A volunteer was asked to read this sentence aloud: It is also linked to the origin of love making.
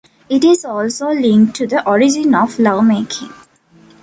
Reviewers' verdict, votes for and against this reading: accepted, 2, 0